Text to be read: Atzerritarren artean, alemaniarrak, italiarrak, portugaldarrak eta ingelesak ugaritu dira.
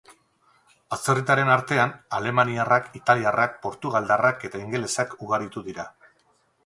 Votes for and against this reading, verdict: 0, 2, rejected